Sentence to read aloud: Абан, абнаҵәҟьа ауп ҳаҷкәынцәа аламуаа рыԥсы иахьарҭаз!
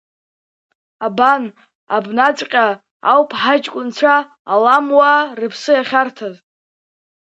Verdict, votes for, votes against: accepted, 2, 0